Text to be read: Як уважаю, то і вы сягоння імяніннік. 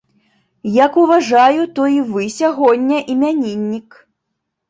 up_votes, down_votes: 3, 0